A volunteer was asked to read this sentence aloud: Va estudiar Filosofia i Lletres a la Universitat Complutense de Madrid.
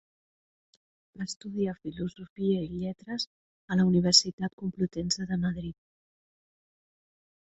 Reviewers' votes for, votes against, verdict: 0, 2, rejected